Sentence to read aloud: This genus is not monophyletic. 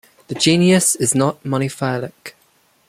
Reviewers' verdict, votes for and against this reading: accepted, 2, 0